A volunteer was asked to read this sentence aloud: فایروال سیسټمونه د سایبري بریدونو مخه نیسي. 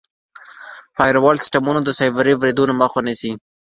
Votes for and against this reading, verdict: 2, 1, accepted